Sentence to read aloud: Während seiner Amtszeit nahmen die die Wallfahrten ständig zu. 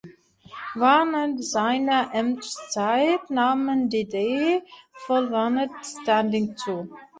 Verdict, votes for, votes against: rejected, 0, 2